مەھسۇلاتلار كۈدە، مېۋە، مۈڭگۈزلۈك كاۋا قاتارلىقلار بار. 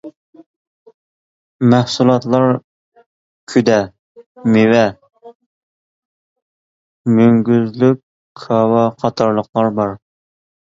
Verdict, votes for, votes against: accepted, 2, 0